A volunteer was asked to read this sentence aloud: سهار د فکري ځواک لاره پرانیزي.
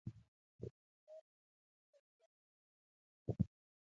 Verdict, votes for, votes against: rejected, 0, 2